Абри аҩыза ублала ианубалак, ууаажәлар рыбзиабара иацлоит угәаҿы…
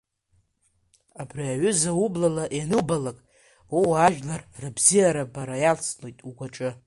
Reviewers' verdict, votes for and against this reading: accepted, 2, 0